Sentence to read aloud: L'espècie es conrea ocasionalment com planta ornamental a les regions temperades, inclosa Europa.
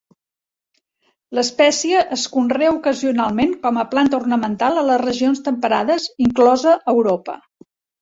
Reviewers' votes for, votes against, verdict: 1, 2, rejected